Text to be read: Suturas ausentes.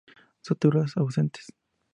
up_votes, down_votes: 4, 0